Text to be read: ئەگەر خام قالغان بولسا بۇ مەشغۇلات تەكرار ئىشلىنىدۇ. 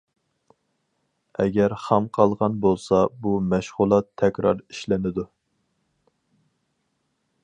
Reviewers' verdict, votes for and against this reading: accepted, 4, 0